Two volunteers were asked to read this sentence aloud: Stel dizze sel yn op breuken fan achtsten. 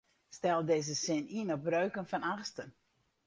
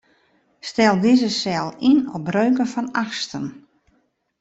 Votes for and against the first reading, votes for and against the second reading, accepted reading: 0, 4, 2, 0, second